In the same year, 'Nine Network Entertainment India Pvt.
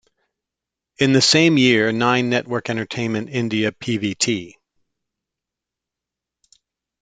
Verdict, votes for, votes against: accepted, 2, 0